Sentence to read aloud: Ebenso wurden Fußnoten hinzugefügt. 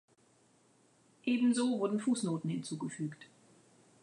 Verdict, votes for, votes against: accepted, 2, 0